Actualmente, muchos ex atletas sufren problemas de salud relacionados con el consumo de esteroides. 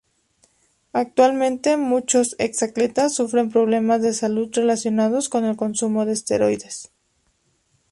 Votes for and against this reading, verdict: 4, 0, accepted